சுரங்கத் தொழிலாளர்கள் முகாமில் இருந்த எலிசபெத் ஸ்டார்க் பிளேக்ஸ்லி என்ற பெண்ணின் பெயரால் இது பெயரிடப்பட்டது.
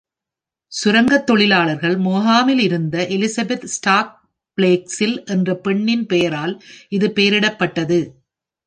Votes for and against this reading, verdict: 1, 2, rejected